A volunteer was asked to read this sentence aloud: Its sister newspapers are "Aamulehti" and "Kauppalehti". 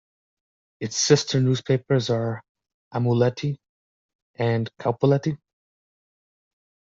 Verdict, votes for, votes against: accepted, 2, 0